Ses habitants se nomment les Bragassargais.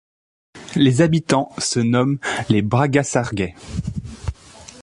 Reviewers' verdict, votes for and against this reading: rejected, 0, 3